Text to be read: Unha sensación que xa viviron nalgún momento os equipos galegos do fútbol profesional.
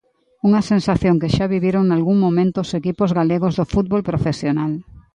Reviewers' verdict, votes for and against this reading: accepted, 2, 0